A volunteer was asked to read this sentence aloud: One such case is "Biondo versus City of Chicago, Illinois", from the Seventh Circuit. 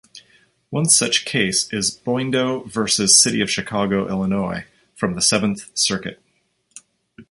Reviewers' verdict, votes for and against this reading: accepted, 2, 0